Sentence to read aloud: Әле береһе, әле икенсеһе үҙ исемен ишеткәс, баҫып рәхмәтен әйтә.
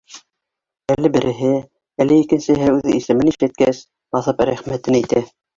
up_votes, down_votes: 2, 1